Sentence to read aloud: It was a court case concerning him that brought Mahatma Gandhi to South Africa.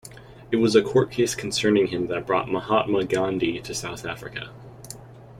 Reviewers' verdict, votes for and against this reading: accepted, 2, 0